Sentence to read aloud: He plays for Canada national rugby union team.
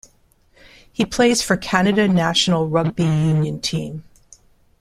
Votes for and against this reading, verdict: 2, 0, accepted